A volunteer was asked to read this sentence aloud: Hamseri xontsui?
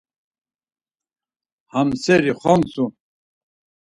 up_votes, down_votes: 2, 4